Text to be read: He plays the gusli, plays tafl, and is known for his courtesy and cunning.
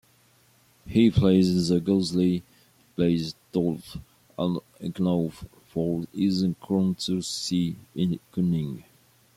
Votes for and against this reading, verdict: 1, 2, rejected